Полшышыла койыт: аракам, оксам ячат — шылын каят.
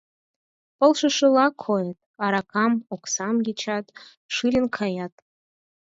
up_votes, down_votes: 4, 2